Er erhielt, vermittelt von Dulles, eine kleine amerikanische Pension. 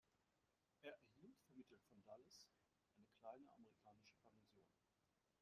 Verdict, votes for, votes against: rejected, 0, 2